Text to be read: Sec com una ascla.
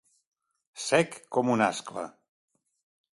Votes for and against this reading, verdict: 2, 0, accepted